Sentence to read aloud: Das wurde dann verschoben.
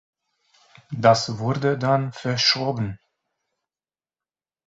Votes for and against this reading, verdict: 2, 0, accepted